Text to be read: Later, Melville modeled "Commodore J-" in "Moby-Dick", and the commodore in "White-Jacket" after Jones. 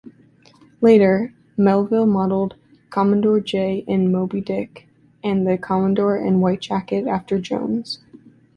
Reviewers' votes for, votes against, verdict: 2, 0, accepted